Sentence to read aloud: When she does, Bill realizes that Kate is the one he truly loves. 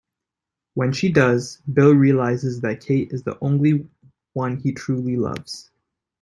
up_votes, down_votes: 1, 2